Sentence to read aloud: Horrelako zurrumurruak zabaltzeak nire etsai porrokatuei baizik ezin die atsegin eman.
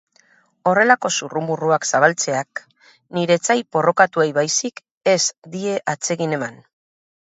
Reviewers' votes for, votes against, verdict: 0, 2, rejected